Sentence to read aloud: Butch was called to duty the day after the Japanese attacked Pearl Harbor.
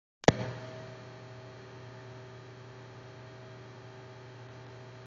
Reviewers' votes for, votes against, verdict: 0, 2, rejected